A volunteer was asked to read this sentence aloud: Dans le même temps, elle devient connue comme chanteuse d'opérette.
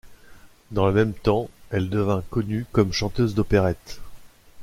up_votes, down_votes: 0, 2